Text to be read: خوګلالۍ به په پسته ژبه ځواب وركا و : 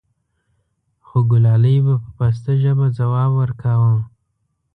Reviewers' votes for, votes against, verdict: 2, 0, accepted